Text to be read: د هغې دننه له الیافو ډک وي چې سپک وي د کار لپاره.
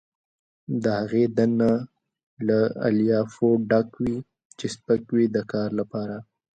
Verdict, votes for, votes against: accepted, 2, 1